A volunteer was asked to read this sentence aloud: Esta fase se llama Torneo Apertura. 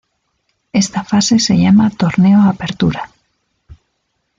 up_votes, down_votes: 2, 0